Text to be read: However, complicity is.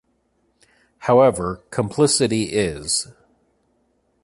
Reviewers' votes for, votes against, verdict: 1, 2, rejected